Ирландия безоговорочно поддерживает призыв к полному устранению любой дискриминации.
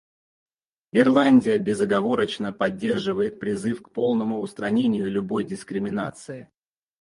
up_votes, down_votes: 2, 4